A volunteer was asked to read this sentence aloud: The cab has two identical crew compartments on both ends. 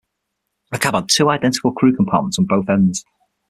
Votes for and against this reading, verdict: 3, 6, rejected